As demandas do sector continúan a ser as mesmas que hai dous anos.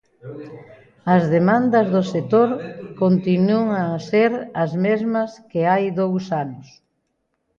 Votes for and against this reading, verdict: 2, 0, accepted